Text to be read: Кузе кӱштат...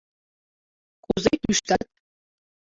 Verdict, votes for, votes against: rejected, 1, 2